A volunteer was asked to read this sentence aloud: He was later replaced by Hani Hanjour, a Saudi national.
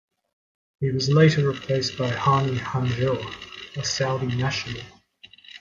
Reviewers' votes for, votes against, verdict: 2, 0, accepted